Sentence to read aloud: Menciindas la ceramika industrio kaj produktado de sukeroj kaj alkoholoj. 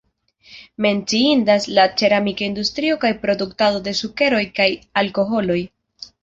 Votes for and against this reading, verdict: 2, 0, accepted